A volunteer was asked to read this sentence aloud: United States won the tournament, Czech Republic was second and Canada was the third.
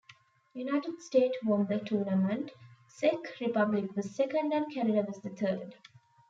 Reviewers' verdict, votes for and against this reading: rejected, 0, 2